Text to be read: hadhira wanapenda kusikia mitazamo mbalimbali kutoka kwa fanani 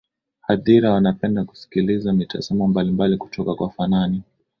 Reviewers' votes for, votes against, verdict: 10, 2, accepted